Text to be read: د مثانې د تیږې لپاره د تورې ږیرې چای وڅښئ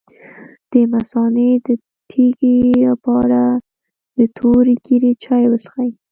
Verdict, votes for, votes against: rejected, 1, 2